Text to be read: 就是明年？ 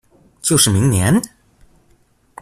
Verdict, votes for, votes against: rejected, 0, 2